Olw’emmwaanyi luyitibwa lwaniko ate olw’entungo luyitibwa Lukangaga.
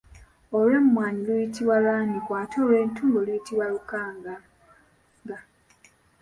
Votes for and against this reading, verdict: 0, 2, rejected